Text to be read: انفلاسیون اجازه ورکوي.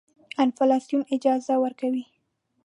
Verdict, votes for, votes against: accepted, 2, 0